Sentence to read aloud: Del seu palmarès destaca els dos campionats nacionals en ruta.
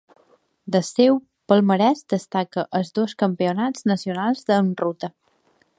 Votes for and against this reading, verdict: 1, 2, rejected